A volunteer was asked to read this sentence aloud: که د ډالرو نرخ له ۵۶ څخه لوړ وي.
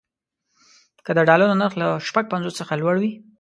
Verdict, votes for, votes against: rejected, 0, 2